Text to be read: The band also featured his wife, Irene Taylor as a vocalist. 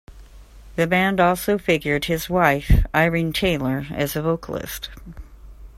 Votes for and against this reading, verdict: 0, 2, rejected